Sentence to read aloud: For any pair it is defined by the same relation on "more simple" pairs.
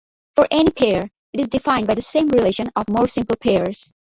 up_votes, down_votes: 0, 2